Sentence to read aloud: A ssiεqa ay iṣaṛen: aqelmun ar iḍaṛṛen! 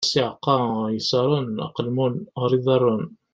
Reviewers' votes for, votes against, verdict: 0, 3, rejected